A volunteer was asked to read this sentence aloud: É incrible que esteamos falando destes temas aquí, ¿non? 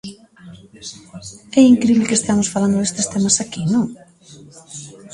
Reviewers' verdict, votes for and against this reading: accepted, 2, 0